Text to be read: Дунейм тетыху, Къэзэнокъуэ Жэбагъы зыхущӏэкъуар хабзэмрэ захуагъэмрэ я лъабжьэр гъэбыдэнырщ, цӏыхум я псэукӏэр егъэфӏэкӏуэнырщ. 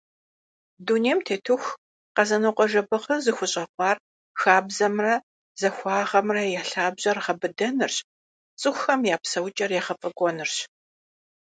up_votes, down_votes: 0, 2